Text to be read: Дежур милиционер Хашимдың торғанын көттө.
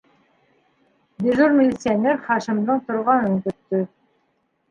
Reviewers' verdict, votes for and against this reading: accepted, 2, 1